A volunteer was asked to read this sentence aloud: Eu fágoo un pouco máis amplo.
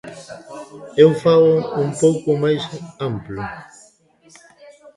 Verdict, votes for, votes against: rejected, 0, 2